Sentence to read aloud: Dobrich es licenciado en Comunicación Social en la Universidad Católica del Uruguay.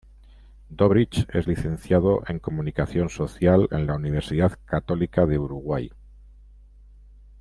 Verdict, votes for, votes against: accepted, 2, 0